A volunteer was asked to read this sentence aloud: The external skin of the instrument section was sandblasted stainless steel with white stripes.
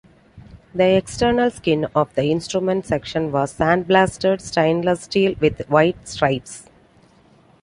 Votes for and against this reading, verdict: 2, 0, accepted